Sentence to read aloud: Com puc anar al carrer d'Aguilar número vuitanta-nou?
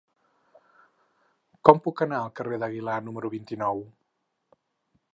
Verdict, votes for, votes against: rejected, 0, 4